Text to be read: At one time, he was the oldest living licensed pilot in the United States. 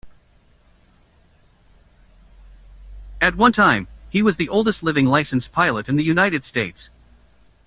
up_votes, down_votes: 2, 1